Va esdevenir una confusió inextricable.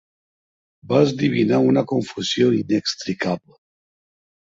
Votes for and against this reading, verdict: 0, 2, rejected